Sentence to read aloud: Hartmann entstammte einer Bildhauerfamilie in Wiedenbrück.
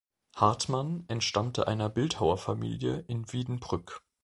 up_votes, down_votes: 2, 0